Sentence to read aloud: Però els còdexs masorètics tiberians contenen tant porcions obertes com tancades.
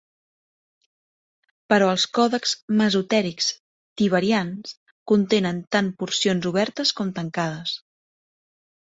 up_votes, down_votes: 1, 2